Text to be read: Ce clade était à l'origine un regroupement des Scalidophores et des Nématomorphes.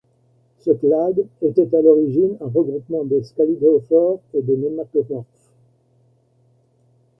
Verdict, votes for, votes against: rejected, 0, 2